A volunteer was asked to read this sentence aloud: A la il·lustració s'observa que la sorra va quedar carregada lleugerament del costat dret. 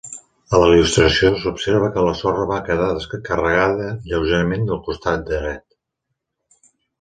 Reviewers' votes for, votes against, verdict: 2, 4, rejected